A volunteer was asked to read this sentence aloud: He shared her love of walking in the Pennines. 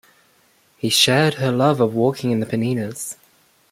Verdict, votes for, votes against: rejected, 1, 2